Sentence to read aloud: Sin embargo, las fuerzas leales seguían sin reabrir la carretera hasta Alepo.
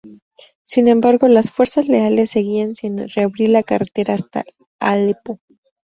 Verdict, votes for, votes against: rejected, 0, 2